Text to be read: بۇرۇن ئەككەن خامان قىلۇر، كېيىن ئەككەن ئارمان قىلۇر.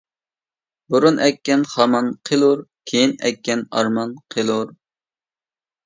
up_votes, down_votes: 2, 0